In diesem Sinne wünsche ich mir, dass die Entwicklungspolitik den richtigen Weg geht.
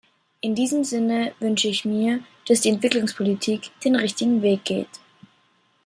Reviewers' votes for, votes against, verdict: 2, 0, accepted